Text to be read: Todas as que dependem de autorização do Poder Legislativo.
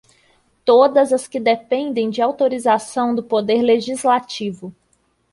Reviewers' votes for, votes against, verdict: 2, 0, accepted